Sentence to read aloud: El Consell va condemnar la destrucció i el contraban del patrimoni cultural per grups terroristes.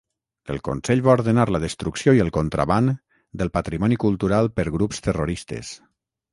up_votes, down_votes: 0, 6